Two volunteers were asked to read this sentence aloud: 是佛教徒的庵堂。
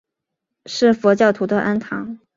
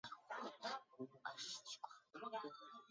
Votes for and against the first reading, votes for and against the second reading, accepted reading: 2, 0, 1, 3, first